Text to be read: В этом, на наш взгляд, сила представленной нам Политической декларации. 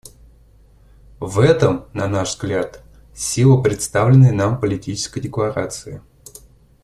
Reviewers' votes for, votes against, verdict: 2, 0, accepted